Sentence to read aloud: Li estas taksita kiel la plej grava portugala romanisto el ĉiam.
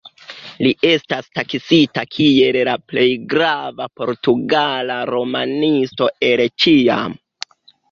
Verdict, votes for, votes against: accepted, 2, 1